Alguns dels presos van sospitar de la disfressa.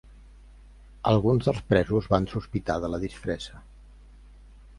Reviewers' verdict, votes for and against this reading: accepted, 3, 0